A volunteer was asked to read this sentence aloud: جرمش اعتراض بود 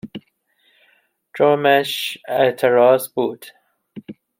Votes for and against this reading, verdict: 2, 1, accepted